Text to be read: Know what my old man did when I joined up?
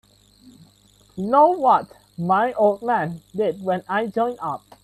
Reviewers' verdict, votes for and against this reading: rejected, 0, 2